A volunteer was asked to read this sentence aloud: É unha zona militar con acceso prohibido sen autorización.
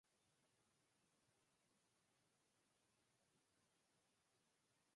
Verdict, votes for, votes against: rejected, 0, 4